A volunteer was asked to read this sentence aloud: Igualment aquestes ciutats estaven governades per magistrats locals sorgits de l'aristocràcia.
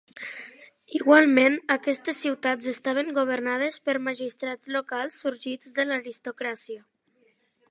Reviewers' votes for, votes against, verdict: 2, 0, accepted